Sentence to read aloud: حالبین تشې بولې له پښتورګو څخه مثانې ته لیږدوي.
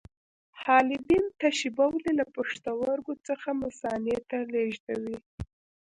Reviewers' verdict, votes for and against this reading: rejected, 0, 2